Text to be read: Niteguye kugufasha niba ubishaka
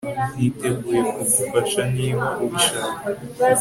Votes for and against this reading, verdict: 4, 0, accepted